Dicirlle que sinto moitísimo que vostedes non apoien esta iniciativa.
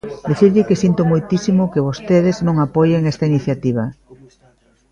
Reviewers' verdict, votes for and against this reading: rejected, 1, 2